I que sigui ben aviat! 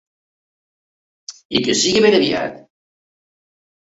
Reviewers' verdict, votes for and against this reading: accepted, 2, 0